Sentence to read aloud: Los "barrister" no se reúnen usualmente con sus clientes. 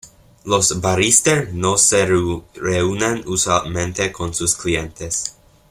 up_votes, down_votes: 1, 2